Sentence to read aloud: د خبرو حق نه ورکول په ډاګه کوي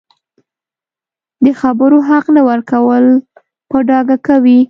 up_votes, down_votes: 2, 0